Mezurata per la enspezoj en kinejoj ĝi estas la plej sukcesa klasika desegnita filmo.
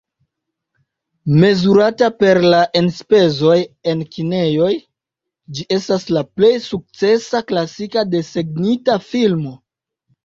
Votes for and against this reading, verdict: 2, 0, accepted